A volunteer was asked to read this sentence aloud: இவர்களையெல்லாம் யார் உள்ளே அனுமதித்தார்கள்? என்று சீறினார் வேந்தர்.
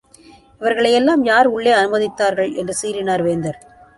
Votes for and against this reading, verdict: 2, 0, accepted